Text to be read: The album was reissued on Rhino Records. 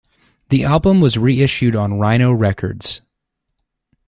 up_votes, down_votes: 2, 0